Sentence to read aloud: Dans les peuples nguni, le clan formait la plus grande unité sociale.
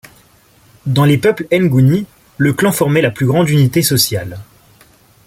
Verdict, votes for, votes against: accepted, 2, 0